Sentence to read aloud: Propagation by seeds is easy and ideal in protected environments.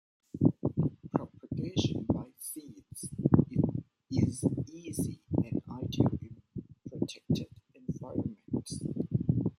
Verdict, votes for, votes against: rejected, 0, 2